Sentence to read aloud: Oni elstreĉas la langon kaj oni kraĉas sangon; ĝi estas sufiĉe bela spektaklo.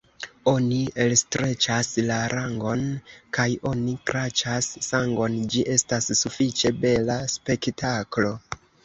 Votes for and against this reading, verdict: 2, 0, accepted